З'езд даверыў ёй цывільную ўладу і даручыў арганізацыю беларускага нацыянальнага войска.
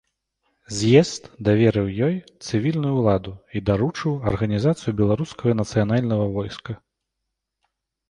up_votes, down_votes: 1, 2